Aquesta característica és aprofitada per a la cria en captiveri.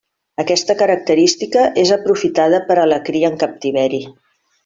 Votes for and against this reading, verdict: 3, 0, accepted